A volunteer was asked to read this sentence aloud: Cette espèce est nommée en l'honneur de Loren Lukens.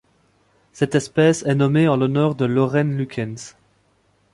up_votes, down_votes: 2, 0